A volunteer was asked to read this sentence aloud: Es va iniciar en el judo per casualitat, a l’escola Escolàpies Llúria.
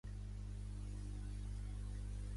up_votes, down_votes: 0, 2